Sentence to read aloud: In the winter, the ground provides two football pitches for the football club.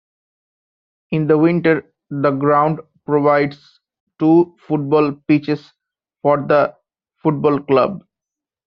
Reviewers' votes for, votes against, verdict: 1, 2, rejected